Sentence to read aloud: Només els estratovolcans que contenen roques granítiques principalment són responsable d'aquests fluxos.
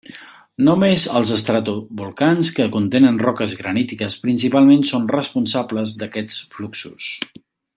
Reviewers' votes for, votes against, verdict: 1, 2, rejected